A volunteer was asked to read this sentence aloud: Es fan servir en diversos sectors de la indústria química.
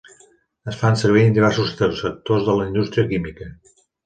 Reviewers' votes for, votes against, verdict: 0, 2, rejected